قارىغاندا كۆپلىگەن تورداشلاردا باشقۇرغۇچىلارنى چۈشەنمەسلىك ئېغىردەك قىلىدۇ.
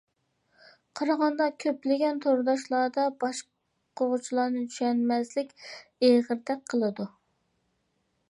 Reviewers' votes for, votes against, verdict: 2, 1, accepted